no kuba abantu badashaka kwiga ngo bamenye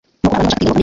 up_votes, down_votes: 1, 2